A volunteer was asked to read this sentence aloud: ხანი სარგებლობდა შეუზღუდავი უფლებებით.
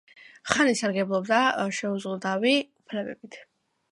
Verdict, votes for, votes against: accepted, 2, 0